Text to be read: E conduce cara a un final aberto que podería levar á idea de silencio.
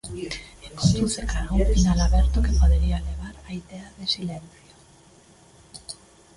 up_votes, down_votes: 0, 2